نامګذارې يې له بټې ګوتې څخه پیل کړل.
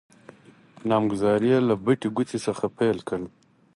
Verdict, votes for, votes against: accepted, 4, 0